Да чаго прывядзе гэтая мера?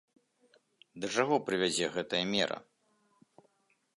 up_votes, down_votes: 1, 2